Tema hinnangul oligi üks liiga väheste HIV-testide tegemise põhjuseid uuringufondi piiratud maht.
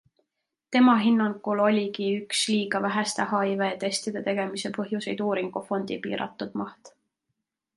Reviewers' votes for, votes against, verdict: 2, 0, accepted